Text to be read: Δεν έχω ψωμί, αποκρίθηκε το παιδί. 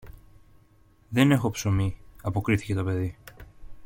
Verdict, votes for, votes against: accepted, 2, 0